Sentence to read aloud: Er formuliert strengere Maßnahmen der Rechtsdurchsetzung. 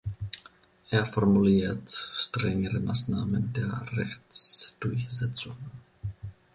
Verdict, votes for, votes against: accepted, 2, 0